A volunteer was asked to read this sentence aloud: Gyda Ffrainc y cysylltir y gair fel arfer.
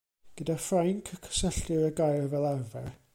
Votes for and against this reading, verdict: 1, 2, rejected